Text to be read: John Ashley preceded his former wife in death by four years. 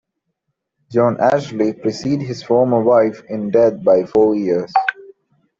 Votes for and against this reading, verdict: 2, 0, accepted